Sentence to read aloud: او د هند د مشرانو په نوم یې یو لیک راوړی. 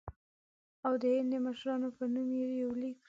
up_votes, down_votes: 1, 2